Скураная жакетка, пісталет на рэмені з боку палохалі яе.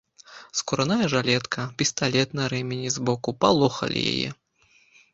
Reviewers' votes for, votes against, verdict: 1, 3, rejected